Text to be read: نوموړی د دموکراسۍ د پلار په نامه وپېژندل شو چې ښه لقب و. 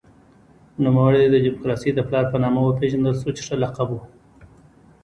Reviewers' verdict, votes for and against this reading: accepted, 3, 2